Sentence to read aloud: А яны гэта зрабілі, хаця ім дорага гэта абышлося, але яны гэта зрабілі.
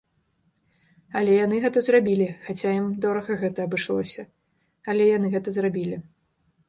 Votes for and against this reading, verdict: 1, 2, rejected